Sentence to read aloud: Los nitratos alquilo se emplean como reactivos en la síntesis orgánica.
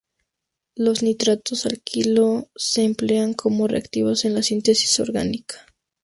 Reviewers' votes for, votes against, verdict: 2, 0, accepted